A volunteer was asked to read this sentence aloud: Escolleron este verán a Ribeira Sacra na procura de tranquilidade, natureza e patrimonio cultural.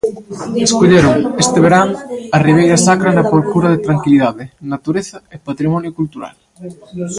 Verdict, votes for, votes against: rejected, 0, 2